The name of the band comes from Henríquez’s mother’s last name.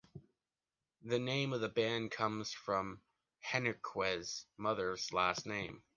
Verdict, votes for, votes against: accepted, 2, 0